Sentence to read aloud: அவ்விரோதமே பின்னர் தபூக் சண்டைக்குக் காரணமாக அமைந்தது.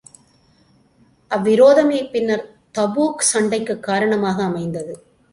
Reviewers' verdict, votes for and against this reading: accepted, 2, 0